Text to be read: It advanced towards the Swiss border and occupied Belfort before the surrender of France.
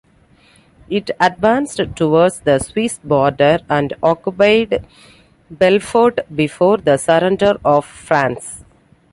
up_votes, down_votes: 2, 0